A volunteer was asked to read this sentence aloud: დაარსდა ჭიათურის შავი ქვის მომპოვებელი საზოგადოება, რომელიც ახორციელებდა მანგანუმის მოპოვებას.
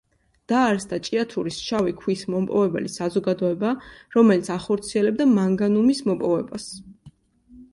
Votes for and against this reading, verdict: 2, 0, accepted